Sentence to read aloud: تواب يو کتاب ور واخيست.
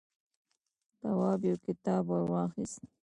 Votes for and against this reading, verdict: 1, 2, rejected